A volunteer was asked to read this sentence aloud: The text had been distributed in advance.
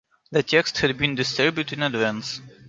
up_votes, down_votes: 0, 2